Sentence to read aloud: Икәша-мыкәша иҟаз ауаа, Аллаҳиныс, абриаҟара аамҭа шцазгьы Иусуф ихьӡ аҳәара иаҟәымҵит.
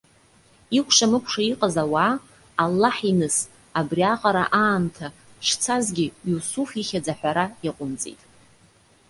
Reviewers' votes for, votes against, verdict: 2, 0, accepted